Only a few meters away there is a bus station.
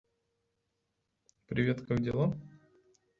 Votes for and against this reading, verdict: 0, 2, rejected